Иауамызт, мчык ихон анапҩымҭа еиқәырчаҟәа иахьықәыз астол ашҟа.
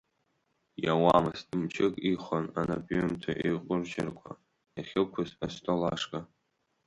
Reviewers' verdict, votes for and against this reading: accepted, 2, 0